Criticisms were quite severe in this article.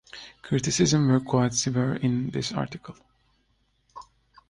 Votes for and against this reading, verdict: 0, 2, rejected